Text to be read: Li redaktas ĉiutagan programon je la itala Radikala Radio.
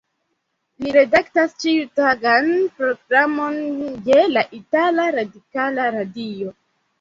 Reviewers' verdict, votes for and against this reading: rejected, 1, 2